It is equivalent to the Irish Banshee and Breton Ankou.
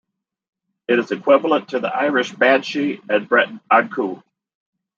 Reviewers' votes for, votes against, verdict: 2, 1, accepted